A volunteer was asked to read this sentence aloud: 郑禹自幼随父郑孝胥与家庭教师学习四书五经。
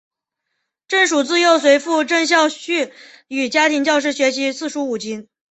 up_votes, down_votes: 2, 0